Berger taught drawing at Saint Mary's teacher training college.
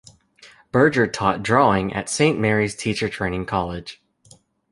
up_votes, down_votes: 2, 0